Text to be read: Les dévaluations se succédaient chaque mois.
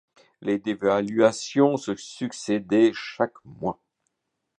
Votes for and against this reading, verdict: 1, 2, rejected